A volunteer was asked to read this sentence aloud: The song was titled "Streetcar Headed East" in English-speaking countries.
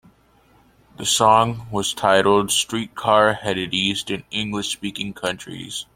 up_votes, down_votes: 2, 1